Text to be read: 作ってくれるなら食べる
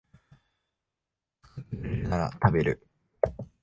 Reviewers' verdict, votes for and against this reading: rejected, 0, 2